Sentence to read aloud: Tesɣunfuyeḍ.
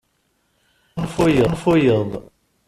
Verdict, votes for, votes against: rejected, 1, 2